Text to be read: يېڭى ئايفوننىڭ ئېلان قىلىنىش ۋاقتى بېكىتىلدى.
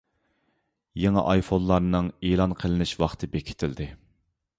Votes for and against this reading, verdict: 0, 2, rejected